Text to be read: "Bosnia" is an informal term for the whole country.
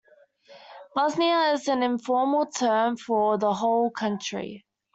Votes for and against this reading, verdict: 2, 0, accepted